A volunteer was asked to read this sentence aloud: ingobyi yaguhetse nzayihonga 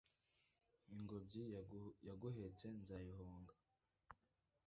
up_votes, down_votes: 1, 2